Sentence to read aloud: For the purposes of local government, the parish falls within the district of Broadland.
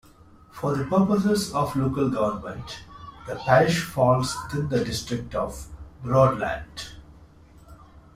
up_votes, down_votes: 1, 2